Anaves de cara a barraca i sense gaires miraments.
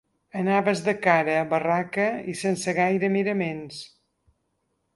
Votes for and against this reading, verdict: 2, 4, rejected